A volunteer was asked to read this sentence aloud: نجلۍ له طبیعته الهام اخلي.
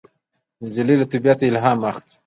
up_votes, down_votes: 2, 1